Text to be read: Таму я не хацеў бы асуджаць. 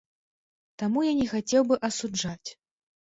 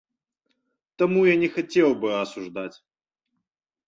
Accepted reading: first